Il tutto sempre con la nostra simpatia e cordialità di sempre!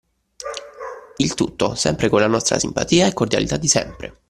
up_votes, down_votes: 2, 0